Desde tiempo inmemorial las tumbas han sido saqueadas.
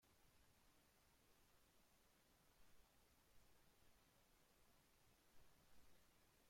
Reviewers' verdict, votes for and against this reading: rejected, 0, 2